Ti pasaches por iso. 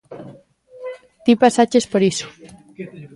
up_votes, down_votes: 2, 1